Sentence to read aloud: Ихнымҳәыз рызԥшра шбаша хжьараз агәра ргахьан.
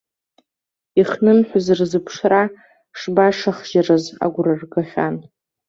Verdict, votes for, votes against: rejected, 0, 2